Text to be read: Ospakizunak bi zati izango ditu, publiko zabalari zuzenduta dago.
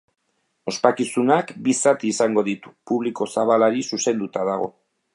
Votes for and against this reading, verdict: 5, 0, accepted